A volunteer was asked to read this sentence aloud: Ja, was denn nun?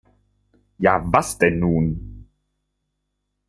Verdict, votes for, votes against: accepted, 2, 0